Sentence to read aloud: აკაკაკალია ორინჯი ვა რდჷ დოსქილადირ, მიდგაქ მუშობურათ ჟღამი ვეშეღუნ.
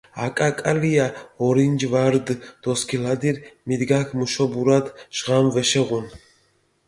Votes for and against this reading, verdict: 1, 2, rejected